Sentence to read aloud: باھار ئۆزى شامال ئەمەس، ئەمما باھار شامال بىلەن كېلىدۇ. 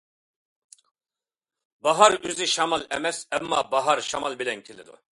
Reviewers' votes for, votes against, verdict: 2, 0, accepted